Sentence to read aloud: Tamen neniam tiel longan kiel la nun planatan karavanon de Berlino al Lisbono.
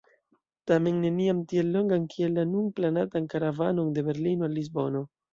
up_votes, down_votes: 2, 0